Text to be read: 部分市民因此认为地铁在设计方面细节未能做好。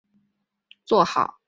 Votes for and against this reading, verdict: 0, 5, rejected